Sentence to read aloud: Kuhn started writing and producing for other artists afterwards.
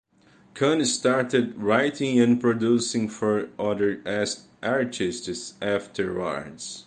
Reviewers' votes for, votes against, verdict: 2, 1, accepted